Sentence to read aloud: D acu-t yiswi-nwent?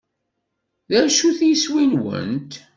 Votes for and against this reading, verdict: 2, 0, accepted